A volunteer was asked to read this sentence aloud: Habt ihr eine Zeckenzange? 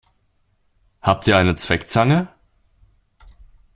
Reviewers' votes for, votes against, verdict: 0, 2, rejected